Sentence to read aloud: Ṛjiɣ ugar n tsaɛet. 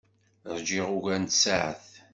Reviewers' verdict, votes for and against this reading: rejected, 1, 2